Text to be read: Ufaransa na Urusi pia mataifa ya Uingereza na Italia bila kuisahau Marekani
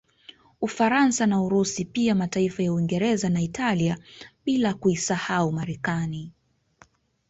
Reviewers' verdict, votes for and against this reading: rejected, 1, 2